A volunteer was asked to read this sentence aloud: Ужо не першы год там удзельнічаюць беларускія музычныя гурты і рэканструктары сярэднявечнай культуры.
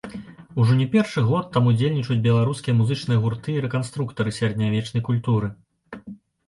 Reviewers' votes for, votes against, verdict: 2, 0, accepted